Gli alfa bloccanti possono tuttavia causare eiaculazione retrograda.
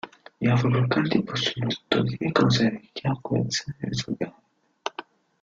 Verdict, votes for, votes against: rejected, 0, 2